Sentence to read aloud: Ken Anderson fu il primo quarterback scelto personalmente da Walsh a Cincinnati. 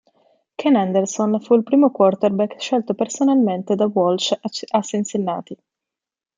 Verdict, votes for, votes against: rejected, 1, 2